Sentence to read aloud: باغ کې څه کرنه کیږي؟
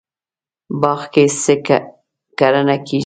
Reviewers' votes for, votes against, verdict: 1, 2, rejected